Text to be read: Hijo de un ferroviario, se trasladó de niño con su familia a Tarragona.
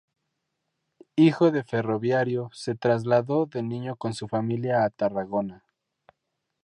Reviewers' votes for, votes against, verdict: 2, 2, rejected